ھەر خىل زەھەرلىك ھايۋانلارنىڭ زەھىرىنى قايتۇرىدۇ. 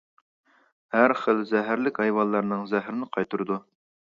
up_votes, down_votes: 2, 0